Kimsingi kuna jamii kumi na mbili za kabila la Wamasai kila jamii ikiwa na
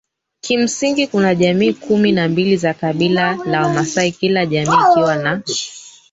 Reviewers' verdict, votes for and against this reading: rejected, 0, 3